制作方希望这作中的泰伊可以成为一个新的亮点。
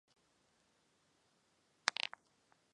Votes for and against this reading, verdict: 0, 2, rejected